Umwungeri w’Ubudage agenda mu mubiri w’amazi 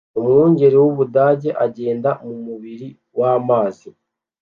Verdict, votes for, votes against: accepted, 2, 0